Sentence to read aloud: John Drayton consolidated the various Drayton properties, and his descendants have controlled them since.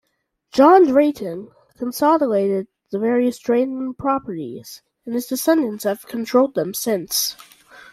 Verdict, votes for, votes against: accepted, 2, 1